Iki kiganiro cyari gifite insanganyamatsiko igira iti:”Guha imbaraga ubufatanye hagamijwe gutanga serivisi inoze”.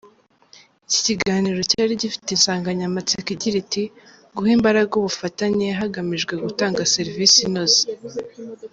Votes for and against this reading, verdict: 2, 0, accepted